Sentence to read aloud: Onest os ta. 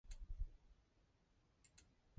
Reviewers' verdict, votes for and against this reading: rejected, 1, 2